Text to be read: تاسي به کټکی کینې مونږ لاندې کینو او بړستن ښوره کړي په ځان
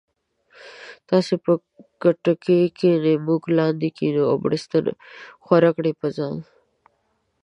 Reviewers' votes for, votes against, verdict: 2, 1, accepted